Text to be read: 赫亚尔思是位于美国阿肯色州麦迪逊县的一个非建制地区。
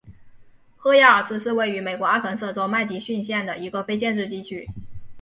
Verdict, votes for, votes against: accepted, 8, 0